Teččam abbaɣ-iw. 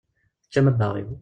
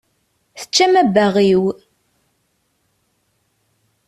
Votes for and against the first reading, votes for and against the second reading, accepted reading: 1, 2, 2, 0, second